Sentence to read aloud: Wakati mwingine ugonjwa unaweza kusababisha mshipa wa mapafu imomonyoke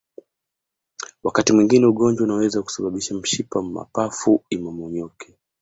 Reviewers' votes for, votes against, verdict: 2, 0, accepted